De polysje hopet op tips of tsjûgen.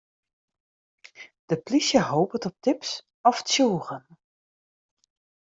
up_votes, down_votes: 0, 2